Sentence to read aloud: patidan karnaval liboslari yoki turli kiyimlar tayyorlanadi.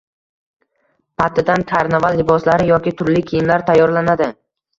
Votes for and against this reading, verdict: 2, 1, accepted